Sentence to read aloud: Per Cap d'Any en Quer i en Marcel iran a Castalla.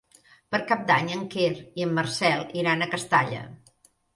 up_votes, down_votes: 3, 0